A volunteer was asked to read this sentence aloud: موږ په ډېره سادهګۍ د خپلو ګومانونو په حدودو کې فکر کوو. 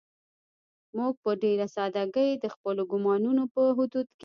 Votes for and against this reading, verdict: 0, 2, rejected